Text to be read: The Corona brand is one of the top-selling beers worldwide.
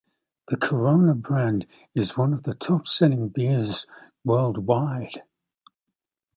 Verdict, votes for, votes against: accepted, 2, 0